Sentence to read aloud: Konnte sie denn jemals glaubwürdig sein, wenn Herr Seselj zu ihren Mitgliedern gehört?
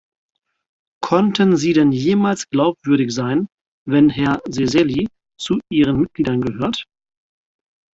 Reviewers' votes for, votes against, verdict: 2, 4, rejected